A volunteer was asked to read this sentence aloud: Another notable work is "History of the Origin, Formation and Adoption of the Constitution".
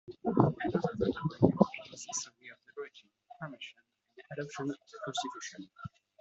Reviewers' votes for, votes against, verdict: 0, 2, rejected